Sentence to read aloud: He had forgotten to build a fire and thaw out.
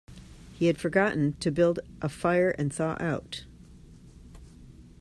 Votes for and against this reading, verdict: 2, 0, accepted